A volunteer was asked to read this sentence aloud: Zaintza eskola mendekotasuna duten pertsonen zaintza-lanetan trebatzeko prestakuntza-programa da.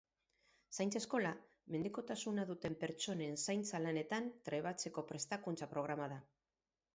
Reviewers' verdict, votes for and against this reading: rejected, 0, 2